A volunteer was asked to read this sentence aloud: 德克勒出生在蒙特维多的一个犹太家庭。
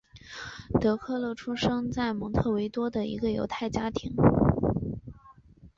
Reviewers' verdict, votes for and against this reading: accepted, 3, 0